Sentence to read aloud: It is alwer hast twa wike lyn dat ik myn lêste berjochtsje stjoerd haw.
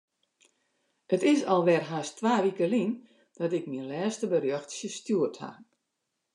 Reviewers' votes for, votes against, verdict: 2, 0, accepted